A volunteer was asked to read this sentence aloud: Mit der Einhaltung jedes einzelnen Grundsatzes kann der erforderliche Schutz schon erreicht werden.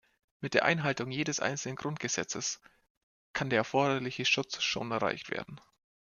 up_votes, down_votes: 0, 2